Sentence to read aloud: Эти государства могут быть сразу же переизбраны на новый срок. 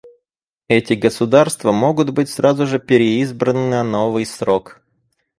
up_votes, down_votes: 4, 0